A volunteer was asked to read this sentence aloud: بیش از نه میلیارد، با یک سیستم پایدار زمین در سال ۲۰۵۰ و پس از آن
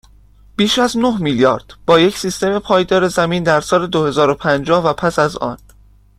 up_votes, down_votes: 0, 2